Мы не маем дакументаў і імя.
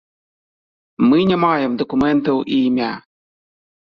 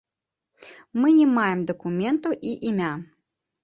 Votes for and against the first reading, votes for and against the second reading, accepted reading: 1, 2, 2, 0, second